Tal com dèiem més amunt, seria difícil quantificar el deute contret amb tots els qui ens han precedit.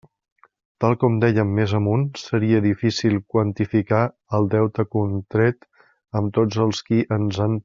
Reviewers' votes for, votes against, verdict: 0, 2, rejected